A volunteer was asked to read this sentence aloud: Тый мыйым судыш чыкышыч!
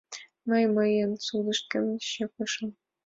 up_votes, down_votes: 0, 5